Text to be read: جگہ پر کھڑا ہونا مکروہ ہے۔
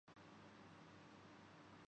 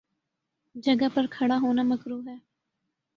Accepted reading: second